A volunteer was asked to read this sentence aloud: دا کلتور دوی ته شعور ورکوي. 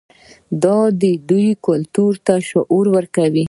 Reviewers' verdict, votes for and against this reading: accepted, 2, 0